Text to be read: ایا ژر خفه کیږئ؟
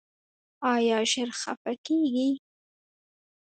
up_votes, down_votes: 1, 2